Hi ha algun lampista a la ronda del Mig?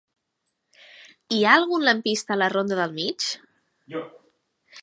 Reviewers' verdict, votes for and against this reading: rejected, 2, 3